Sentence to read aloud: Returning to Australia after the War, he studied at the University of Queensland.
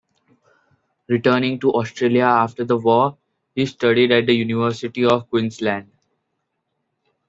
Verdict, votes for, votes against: accepted, 2, 0